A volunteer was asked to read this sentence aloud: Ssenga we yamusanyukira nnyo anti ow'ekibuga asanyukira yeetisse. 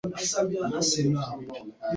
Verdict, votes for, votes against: rejected, 1, 2